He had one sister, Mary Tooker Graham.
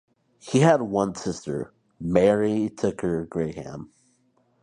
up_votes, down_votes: 2, 2